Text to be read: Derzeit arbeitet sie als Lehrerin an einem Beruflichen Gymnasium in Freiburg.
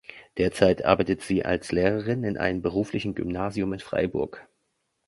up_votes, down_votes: 1, 2